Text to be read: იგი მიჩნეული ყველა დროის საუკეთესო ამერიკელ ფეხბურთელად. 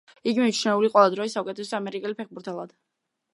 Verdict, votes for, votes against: accepted, 2, 0